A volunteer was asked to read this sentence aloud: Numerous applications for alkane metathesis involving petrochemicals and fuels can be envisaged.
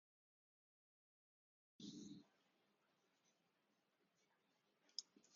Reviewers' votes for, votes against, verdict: 0, 4, rejected